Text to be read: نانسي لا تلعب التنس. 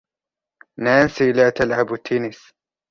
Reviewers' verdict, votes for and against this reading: accepted, 2, 0